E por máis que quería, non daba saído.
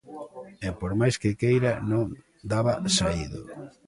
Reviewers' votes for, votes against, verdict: 0, 3, rejected